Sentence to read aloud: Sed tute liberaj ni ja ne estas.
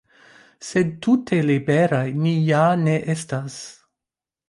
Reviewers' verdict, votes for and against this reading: accepted, 2, 1